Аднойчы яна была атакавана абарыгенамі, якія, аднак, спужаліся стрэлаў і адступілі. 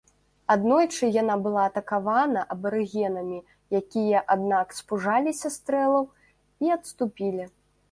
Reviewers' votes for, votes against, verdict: 2, 1, accepted